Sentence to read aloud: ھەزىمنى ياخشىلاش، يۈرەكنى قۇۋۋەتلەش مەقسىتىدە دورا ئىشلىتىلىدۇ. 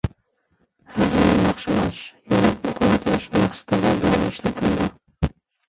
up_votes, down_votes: 0, 2